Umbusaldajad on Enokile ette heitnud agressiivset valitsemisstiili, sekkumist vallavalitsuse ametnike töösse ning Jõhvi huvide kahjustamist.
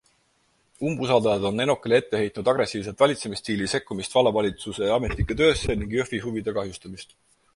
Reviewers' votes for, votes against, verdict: 4, 2, accepted